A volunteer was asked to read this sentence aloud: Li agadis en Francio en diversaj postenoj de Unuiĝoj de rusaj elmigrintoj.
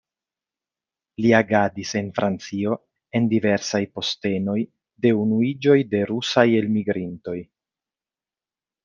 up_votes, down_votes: 2, 0